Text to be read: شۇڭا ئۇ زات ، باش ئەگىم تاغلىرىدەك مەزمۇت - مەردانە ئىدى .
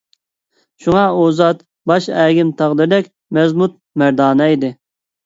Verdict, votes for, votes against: accepted, 2, 0